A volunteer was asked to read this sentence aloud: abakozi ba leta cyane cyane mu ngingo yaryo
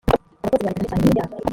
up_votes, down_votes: 0, 2